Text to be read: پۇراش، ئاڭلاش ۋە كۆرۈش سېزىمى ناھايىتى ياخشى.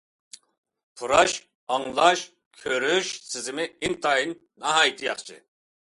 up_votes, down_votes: 0, 2